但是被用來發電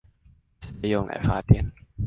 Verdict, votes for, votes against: rejected, 1, 2